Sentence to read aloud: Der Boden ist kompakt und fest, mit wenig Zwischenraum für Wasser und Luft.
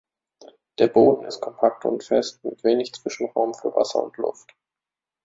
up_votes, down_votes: 1, 2